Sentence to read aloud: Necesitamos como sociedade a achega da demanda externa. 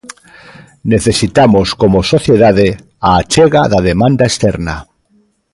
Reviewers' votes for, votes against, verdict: 2, 0, accepted